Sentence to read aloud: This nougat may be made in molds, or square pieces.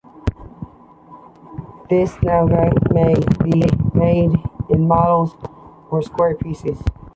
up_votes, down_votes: 1, 2